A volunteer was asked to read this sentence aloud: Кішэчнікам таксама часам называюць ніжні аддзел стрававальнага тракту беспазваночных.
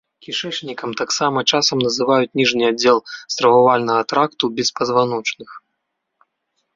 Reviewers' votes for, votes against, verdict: 2, 0, accepted